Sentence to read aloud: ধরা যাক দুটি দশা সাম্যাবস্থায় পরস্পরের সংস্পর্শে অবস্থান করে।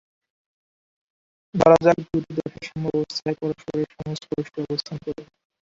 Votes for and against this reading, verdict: 1, 13, rejected